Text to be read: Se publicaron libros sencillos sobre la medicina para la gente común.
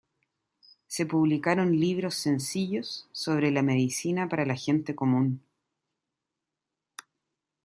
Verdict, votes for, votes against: accepted, 2, 0